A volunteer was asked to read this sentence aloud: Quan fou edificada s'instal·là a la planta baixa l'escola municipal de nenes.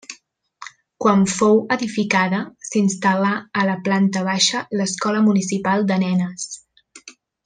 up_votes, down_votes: 3, 0